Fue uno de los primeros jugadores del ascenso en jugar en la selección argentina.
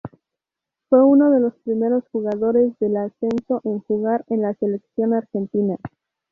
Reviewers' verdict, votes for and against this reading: rejected, 2, 2